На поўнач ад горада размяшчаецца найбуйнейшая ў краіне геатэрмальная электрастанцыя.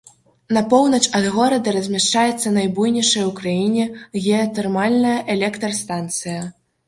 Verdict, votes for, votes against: rejected, 0, 2